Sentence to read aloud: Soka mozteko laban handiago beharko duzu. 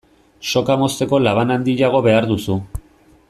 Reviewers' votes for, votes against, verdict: 2, 0, accepted